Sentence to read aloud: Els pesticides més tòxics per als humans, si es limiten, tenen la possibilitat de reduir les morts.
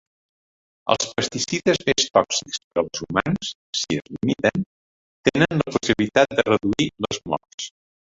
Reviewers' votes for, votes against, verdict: 0, 2, rejected